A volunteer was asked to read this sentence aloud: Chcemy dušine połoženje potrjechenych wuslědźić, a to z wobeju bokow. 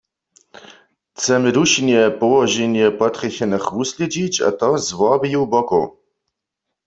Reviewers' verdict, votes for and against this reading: rejected, 0, 2